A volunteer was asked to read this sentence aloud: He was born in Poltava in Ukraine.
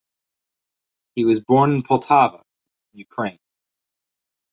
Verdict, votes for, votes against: rejected, 2, 4